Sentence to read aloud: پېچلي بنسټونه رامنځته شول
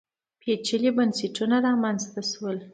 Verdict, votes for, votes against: accepted, 2, 0